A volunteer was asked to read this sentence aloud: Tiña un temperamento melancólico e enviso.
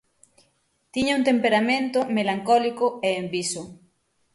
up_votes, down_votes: 6, 0